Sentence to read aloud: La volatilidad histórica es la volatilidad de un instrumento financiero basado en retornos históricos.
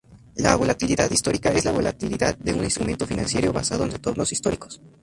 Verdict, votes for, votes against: rejected, 0, 2